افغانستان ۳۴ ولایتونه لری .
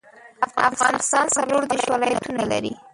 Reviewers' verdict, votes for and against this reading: rejected, 0, 2